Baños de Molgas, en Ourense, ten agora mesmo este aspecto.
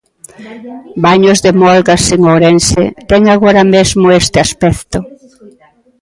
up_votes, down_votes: 1, 2